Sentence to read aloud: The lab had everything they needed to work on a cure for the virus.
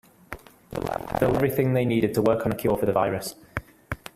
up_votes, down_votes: 0, 2